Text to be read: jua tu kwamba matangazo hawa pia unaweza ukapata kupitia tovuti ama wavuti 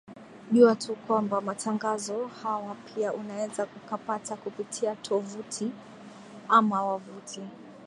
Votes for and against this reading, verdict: 3, 0, accepted